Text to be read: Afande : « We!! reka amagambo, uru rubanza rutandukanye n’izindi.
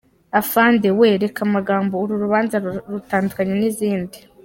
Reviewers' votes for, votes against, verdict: 0, 2, rejected